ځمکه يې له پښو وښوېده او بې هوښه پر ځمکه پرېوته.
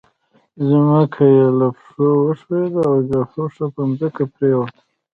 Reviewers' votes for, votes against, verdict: 2, 0, accepted